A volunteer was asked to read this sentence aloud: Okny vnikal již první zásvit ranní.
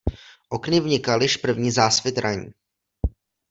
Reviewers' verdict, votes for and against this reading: accepted, 2, 0